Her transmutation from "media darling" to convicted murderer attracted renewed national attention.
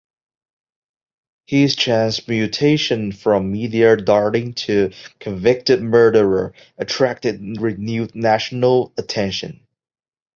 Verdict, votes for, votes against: rejected, 0, 2